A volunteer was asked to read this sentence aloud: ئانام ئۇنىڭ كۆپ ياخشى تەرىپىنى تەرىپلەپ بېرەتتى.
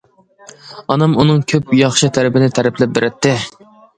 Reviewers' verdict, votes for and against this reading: accepted, 2, 0